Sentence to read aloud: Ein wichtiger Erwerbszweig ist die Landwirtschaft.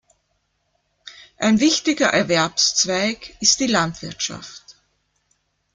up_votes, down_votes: 2, 0